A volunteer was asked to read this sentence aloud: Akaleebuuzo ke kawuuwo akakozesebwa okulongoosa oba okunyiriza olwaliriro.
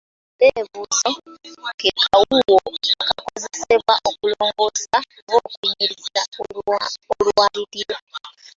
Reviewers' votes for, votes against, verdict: 0, 2, rejected